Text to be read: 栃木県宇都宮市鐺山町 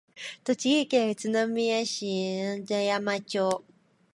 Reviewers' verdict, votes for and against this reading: accepted, 2, 1